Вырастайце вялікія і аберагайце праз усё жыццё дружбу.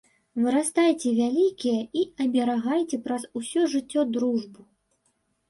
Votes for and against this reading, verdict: 2, 0, accepted